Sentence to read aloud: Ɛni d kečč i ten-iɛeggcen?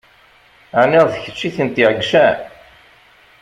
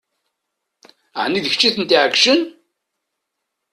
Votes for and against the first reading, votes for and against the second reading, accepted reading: 0, 2, 2, 0, second